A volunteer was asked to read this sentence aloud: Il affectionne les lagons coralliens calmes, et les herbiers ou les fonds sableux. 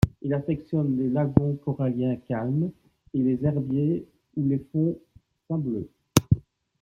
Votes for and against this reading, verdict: 2, 0, accepted